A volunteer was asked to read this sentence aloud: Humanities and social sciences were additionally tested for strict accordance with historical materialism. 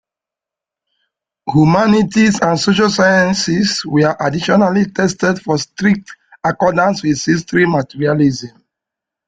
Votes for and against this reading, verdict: 1, 2, rejected